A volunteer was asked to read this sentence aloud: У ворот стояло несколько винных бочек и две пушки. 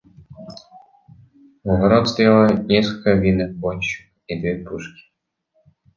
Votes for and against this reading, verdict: 2, 0, accepted